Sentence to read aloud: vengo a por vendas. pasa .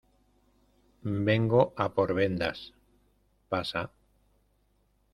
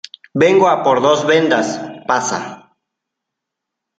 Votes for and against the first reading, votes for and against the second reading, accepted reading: 2, 0, 0, 2, first